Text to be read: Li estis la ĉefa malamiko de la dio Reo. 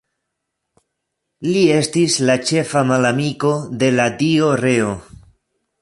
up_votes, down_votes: 2, 0